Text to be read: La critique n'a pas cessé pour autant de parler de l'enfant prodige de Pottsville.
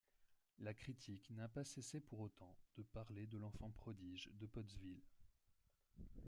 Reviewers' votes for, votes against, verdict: 1, 2, rejected